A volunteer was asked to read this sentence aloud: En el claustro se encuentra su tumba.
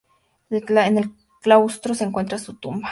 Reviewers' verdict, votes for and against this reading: rejected, 2, 6